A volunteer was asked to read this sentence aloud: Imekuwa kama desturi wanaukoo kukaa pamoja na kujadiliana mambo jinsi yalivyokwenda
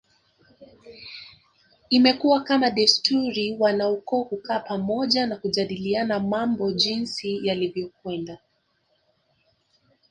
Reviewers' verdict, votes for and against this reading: rejected, 1, 2